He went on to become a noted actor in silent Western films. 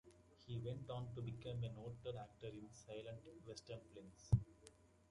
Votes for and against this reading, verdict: 2, 0, accepted